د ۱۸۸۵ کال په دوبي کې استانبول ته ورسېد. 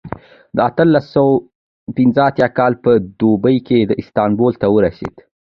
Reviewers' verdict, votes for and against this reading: rejected, 0, 2